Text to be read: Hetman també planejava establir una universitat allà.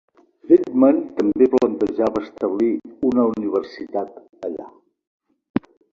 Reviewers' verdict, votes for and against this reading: rejected, 1, 2